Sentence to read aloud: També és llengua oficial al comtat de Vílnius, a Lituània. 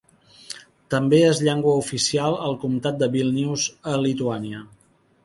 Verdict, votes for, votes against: accepted, 4, 0